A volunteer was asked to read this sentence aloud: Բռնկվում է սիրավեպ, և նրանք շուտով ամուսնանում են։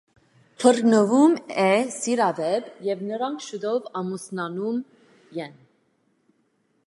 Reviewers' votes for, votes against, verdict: 1, 2, rejected